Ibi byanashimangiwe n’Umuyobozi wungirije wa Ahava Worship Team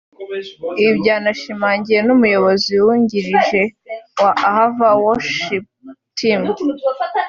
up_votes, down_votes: 1, 2